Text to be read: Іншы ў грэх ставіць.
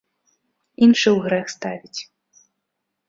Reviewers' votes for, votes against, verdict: 2, 0, accepted